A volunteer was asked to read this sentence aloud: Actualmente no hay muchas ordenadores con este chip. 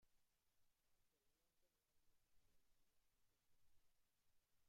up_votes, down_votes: 0, 2